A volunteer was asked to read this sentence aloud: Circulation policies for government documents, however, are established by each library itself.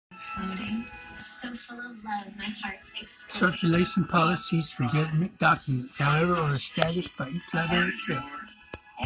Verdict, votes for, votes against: rejected, 1, 2